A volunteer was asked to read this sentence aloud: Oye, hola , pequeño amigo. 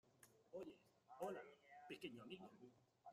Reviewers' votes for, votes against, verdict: 0, 2, rejected